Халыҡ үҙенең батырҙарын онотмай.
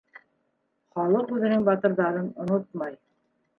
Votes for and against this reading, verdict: 1, 2, rejected